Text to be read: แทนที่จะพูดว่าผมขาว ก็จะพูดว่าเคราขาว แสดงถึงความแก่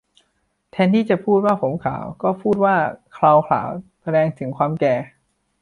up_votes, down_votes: 1, 2